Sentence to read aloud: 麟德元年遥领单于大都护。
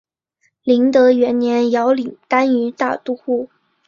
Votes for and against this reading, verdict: 4, 0, accepted